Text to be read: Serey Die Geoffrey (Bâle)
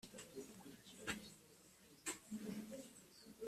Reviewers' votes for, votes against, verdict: 0, 2, rejected